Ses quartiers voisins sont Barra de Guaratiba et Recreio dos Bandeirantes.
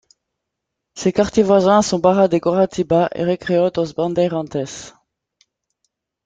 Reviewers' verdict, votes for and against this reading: rejected, 1, 2